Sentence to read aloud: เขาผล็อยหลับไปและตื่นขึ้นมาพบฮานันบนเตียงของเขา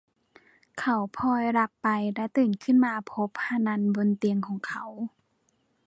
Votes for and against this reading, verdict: 0, 2, rejected